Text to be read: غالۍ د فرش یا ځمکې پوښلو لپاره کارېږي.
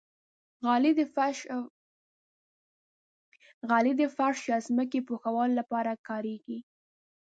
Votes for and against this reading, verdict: 0, 2, rejected